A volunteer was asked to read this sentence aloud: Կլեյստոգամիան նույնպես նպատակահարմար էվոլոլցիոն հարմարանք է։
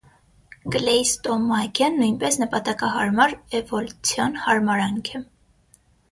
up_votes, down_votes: 3, 6